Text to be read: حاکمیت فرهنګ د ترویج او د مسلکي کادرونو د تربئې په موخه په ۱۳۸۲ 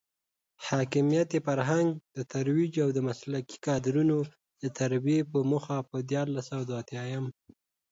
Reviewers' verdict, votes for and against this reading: rejected, 0, 2